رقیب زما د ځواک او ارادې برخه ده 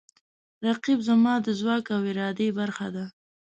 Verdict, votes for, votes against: accepted, 2, 0